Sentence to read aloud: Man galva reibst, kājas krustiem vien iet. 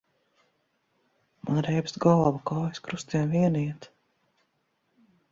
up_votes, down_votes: 0, 2